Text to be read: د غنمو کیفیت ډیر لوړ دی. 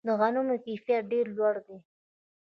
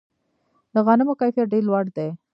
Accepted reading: second